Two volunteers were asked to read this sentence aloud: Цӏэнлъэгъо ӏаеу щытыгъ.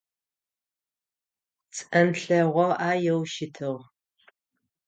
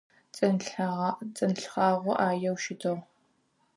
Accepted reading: first